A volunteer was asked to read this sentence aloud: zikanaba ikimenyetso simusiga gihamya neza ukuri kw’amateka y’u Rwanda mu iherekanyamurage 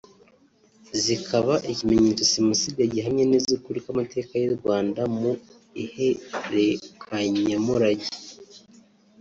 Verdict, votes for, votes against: rejected, 3, 4